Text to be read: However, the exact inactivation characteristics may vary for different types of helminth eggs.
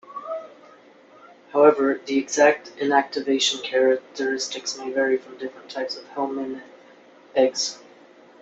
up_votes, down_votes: 1, 2